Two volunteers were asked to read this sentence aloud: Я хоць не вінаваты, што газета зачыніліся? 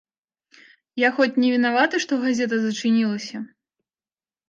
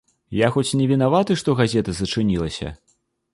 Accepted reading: first